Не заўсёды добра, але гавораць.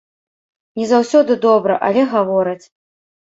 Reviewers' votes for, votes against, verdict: 2, 0, accepted